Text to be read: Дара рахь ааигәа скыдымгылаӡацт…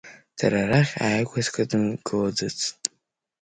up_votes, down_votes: 2, 0